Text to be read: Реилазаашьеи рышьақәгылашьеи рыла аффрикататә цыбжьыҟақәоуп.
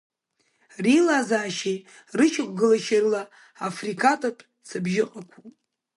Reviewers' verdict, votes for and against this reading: rejected, 1, 2